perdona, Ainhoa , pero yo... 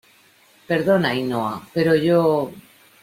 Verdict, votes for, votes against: accepted, 2, 0